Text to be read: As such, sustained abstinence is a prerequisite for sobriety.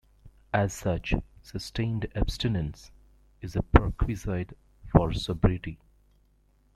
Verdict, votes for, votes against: rejected, 0, 2